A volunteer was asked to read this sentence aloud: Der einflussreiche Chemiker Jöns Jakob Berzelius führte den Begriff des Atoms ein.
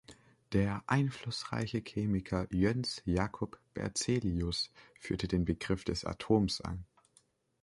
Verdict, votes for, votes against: accepted, 2, 0